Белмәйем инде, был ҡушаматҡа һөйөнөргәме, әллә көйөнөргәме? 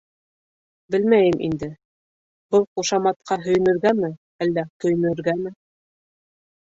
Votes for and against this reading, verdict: 2, 1, accepted